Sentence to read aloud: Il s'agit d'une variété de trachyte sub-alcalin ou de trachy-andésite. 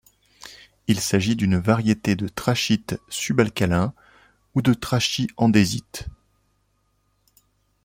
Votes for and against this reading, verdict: 2, 0, accepted